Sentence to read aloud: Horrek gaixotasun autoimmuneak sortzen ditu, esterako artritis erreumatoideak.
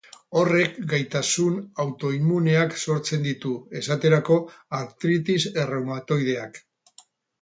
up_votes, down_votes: 0, 6